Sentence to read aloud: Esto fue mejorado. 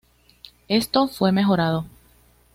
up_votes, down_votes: 2, 0